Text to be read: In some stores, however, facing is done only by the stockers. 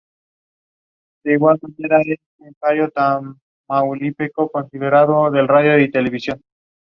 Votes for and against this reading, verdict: 0, 2, rejected